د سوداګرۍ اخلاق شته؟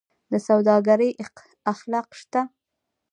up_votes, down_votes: 1, 2